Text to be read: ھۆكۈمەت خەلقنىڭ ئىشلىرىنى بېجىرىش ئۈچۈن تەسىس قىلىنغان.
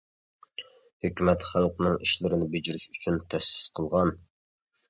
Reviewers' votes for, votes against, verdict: 0, 3, rejected